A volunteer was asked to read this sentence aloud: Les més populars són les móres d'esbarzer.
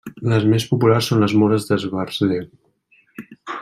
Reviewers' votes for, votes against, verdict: 2, 0, accepted